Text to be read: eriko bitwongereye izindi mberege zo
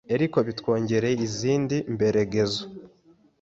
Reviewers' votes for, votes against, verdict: 1, 2, rejected